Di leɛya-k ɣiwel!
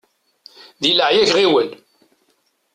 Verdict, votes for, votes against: rejected, 1, 2